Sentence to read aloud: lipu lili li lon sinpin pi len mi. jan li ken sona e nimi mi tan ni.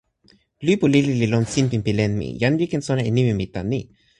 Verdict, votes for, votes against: accepted, 2, 0